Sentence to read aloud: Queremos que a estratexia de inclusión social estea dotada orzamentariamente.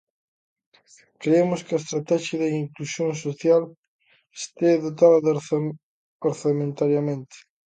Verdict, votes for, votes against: rejected, 0, 2